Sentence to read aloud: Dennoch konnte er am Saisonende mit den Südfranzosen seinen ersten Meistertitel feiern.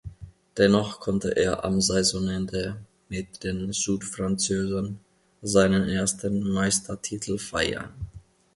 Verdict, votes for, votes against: rejected, 1, 2